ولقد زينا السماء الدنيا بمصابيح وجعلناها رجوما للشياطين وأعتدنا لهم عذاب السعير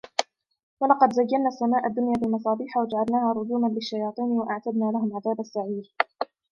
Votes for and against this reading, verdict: 3, 1, accepted